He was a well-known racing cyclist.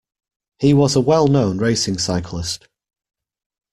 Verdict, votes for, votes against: accepted, 2, 0